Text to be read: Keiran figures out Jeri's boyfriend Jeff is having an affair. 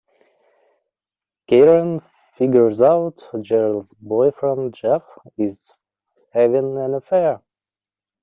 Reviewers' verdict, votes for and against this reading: accepted, 2, 1